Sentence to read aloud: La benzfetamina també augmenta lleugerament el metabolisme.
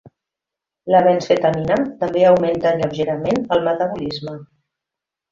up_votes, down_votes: 2, 0